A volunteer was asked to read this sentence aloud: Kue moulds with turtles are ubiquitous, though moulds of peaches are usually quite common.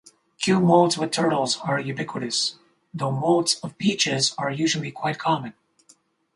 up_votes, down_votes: 2, 2